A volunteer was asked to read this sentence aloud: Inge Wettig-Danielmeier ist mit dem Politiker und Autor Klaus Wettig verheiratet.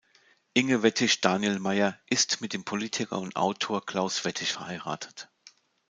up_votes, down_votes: 2, 0